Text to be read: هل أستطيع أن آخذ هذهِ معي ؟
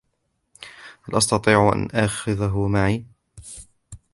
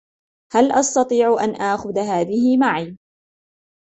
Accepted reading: second